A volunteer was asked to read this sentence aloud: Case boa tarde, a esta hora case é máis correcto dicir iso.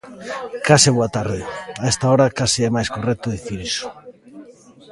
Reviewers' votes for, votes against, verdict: 2, 0, accepted